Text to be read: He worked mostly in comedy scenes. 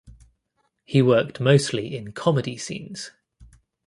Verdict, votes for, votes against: accepted, 2, 0